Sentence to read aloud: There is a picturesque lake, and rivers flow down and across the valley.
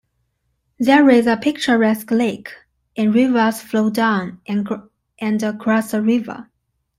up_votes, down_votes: 0, 2